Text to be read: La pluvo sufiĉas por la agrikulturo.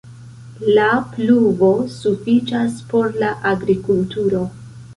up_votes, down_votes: 1, 2